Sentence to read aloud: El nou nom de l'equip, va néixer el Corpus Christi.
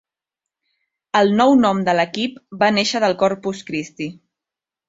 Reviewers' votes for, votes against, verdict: 2, 1, accepted